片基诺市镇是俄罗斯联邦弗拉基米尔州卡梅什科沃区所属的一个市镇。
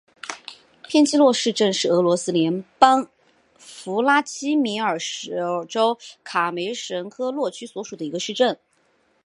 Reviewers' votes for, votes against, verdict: 4, 0, accepted